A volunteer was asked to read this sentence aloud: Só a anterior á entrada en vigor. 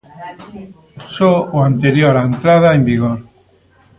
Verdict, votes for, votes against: rejected, 0, 2